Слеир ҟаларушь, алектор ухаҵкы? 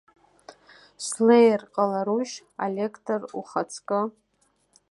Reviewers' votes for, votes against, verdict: 2, 0, accepted